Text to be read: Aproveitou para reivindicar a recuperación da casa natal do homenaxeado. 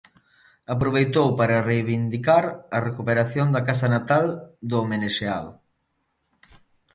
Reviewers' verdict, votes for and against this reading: rejected, 1, 2